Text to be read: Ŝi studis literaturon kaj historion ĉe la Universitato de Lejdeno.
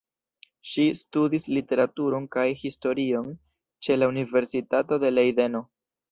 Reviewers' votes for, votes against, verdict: 2, 0, accepted